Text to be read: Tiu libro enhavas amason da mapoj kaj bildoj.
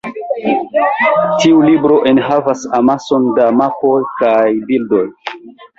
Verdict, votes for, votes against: accepted, 2, 1